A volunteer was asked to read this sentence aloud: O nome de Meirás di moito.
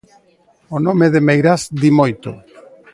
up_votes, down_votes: 2, 0